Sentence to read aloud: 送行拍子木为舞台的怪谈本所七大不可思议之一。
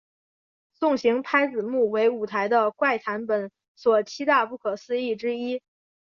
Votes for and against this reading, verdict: 2, 0, accepted